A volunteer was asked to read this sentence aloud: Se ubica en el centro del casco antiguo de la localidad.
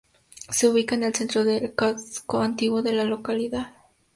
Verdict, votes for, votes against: accepted, 2, 0